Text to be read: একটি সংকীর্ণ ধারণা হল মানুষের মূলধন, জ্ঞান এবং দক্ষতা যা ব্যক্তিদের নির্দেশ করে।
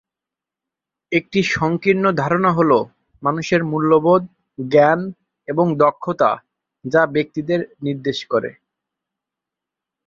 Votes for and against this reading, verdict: 1, 2, rejected